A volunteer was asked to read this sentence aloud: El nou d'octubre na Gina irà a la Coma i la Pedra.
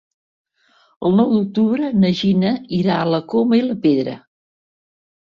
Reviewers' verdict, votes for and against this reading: accepted, 3, 0